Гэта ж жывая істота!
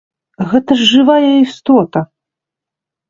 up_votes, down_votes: 2, 0